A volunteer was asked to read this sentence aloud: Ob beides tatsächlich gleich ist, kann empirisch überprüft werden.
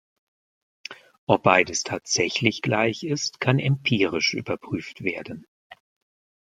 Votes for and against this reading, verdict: 3, 0, accepted